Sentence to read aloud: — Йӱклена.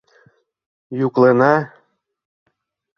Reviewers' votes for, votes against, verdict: 1, 2, rejected